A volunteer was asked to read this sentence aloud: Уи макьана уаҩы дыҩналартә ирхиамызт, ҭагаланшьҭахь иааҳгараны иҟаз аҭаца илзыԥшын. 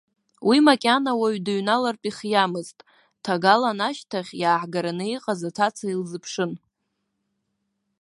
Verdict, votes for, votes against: accepted, 2, 0